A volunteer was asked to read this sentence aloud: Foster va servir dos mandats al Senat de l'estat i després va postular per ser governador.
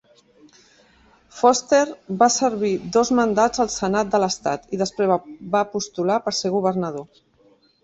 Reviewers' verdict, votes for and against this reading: rejected, 1, 2